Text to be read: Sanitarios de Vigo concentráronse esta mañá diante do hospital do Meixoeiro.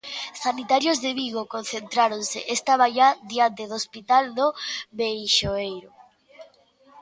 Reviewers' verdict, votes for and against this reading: accepted, 2, 0